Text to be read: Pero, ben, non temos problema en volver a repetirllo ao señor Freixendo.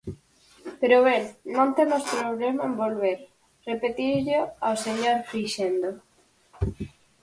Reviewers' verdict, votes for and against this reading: rejected, 2, 4